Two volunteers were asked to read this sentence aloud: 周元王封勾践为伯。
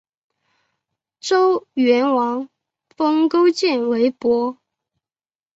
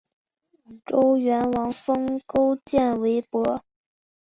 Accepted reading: second